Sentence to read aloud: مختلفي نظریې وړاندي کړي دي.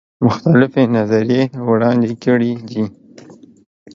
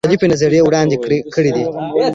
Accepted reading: first